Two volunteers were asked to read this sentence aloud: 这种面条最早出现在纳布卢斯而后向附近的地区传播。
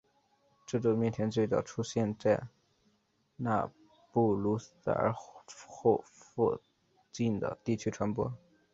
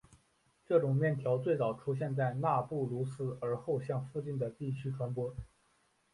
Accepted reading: second